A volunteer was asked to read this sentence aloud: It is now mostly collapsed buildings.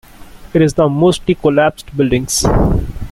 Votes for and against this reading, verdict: 0, 2, rejected